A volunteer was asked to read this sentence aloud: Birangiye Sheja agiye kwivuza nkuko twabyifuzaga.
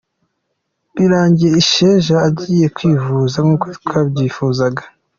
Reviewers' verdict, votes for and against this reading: accepted, 2, 1